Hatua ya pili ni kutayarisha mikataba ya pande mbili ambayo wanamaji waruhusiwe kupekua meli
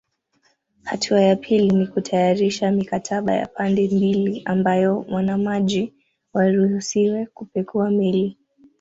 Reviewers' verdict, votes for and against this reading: accepted, 2, 0